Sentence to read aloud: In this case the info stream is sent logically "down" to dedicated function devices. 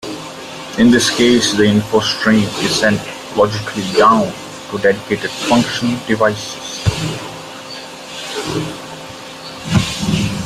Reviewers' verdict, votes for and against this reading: accepted, 2, 0